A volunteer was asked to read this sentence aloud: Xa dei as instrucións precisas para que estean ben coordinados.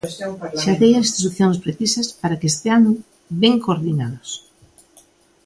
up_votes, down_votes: 1, 2